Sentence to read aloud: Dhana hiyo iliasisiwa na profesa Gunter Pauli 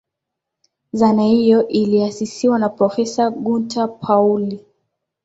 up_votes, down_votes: 8, 1